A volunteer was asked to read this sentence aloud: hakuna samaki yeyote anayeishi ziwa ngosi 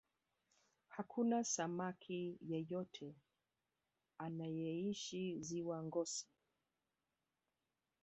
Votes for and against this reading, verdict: 0, 2, rejected